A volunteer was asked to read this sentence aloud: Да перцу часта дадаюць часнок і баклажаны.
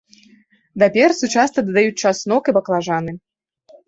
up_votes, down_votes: 0, 2